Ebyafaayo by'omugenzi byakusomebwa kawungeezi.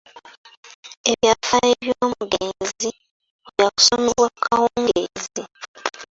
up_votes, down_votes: 0, 2